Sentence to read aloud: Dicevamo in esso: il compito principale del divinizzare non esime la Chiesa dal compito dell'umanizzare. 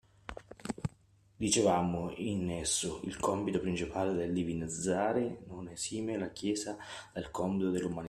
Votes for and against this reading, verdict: 0, 2, rejected